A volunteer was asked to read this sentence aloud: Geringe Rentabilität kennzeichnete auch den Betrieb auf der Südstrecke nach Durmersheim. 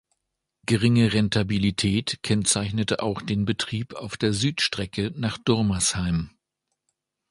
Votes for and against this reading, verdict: 2, 0, accepted